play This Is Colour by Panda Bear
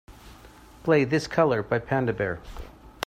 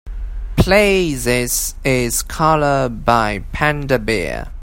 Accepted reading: second